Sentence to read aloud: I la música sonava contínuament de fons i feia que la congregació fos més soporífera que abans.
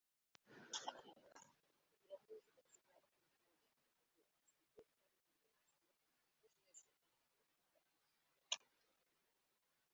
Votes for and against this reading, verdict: 0, 2, rejected